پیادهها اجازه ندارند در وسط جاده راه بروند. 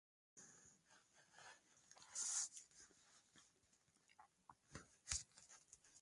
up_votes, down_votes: 0, 2